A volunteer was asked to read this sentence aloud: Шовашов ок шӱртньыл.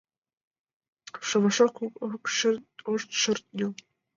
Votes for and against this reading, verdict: 1, 2, rejected